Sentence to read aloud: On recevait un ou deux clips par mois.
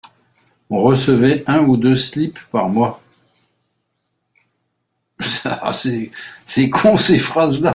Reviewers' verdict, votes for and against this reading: rejected, 0, 2